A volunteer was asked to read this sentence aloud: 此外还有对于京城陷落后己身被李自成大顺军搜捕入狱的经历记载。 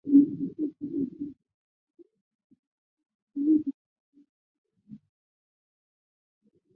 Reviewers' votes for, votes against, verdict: 0, 2, rejected